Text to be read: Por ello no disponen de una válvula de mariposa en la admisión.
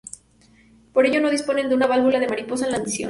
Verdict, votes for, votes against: rejected, 2, 2